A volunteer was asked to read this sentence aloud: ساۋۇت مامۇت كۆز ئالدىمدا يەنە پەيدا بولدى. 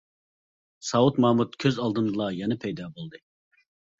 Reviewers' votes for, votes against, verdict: 1, 2, rejected